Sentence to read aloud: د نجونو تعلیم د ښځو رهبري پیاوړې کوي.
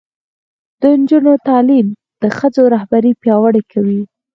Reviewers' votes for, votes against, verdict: 4, 0, accepted